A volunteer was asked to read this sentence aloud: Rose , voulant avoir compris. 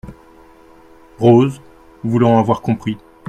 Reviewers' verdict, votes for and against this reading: accepted, 2, 0